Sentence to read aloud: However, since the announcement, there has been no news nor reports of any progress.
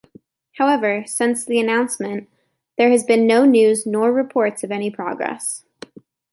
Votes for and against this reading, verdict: 1, 2, rejected